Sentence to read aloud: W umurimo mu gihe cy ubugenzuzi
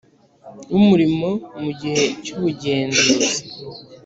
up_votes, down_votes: 2, 0